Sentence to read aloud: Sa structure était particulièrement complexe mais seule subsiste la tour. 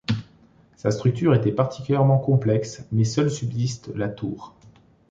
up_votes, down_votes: 2, 0